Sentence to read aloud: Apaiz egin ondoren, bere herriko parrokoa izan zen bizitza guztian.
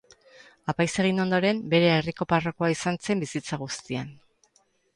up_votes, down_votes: 2, 2